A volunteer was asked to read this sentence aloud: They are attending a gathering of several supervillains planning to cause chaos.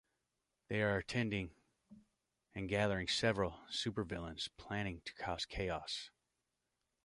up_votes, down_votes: 1, 2